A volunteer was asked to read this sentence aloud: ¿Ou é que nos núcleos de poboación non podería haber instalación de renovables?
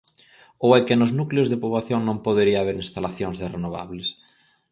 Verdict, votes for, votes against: rejected, 2, 4